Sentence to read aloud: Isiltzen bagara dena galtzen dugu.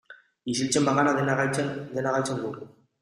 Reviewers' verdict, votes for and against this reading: rejected, 0, 2